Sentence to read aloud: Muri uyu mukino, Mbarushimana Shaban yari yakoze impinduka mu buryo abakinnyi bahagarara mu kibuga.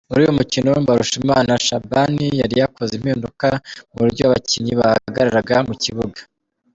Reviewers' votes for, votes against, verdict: 2, 1, accepted